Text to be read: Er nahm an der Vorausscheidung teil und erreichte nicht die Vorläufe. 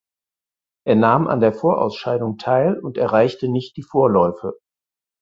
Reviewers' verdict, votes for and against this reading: accepted, 4, 0